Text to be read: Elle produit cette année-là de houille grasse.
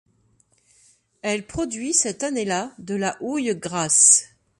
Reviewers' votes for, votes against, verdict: 1, 2, rejected